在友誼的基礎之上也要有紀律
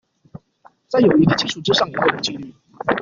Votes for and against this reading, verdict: 0, 2, rejected